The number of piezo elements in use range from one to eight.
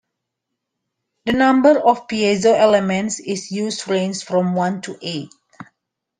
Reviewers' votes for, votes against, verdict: 0, 2, rejected